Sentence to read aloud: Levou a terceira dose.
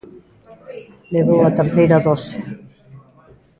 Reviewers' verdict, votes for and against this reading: accepted, 3, 0